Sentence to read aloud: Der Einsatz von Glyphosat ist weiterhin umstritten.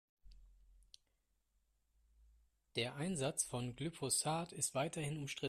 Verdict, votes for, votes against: rejected, 0, 2